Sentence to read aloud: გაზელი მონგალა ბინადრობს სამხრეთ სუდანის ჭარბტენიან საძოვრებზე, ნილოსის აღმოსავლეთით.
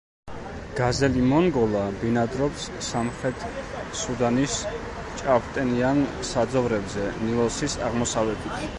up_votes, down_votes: 1, 2